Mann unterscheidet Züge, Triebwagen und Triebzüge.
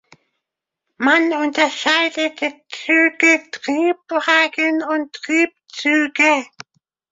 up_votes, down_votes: 1, 2